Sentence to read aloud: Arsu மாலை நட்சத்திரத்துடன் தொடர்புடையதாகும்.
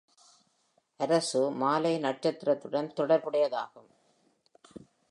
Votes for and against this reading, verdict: 2, 0, accepted